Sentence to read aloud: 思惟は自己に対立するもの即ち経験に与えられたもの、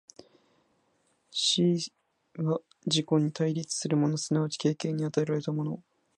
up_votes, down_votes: 0, 2